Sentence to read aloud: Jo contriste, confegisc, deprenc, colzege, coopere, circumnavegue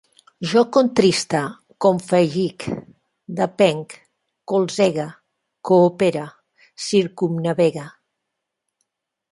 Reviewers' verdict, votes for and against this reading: rejected, 0, 2